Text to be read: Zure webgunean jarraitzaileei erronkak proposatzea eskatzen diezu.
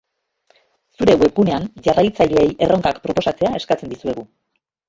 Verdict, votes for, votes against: rejected, 1, 4